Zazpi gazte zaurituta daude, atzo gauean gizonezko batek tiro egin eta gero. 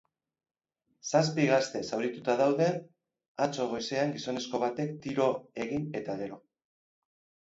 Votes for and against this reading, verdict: 0, 4, rejected